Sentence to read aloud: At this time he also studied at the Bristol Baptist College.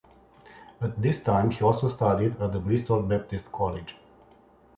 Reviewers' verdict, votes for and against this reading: accepted, 3, 0